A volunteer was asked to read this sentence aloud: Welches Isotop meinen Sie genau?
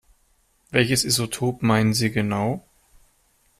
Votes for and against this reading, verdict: 2, 0, accepted